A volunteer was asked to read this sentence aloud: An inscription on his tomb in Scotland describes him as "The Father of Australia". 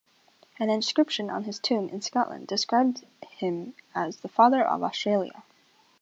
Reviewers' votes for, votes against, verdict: 2, 0, accepted